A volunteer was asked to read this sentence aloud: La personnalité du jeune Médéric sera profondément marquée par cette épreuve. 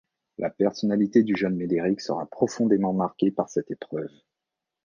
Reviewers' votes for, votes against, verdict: 2, 0, accepted